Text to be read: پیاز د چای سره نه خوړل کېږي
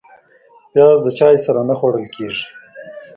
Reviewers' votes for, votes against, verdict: 0, 2, rejected